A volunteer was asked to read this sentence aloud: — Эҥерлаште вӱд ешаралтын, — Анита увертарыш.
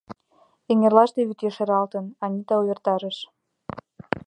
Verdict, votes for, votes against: accepted, 2, 0